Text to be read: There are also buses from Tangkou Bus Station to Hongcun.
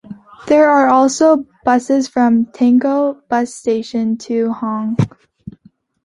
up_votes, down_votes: 1, 2